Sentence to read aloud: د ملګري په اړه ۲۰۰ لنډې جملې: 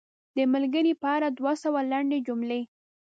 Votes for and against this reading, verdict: 0, 2, rejected